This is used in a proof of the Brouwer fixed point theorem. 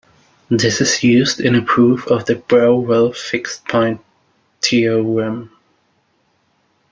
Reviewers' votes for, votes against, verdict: 0, 2, rejected